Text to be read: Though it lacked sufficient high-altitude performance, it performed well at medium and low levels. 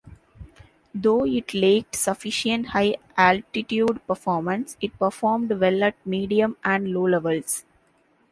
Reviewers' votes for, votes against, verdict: 0, 2, rejected